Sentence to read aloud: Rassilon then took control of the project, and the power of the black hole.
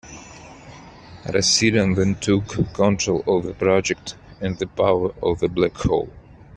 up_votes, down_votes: 2, 0